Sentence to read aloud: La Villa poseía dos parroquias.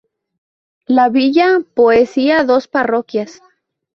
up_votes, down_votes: 0, 2